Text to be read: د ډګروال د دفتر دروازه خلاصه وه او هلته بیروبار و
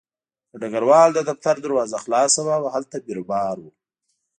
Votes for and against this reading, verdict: 2, 0, accepted